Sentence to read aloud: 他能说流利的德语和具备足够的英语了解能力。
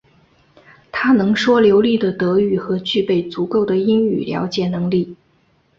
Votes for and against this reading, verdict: 3, 0, accepted